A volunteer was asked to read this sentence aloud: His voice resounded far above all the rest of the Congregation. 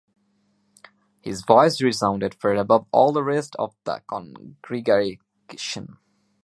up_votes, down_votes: 2, 0